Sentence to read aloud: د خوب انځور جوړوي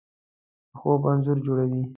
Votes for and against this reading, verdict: 2, 1, accepted